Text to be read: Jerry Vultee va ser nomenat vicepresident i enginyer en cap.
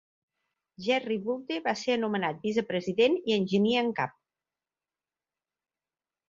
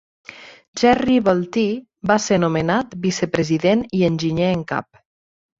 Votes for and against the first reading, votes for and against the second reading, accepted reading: 0, 2, 4, 0, second